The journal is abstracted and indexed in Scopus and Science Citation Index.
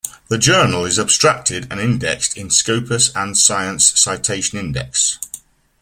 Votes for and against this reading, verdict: 2, 0, accepted